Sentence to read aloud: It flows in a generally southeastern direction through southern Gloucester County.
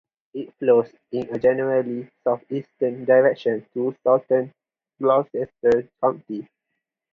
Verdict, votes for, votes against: rejected, 0, 4